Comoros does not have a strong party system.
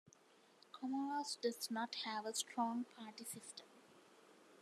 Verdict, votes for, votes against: accepted, 2, 0